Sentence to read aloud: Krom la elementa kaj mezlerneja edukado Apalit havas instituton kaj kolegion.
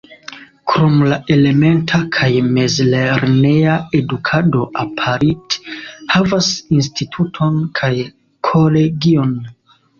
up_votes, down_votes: 1, 2